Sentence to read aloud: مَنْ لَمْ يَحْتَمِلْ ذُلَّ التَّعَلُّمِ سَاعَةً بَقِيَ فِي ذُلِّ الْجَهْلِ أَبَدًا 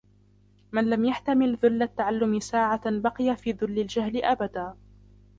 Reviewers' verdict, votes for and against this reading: rejected, 0, 2